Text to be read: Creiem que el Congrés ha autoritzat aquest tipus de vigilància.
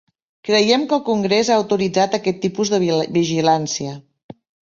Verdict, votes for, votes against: rejected, 0, 2